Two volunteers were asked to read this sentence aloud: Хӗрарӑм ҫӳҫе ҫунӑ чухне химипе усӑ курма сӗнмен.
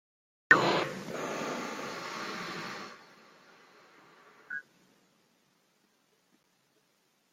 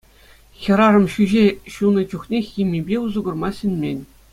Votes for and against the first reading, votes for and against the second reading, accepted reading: 0, 2, 2, 0, second